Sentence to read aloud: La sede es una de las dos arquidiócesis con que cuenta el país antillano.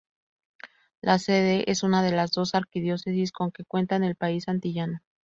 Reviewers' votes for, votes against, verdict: 0, 2, rejected